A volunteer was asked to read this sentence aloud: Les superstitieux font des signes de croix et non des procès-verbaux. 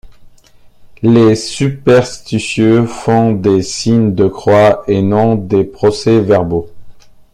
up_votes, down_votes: 2, 0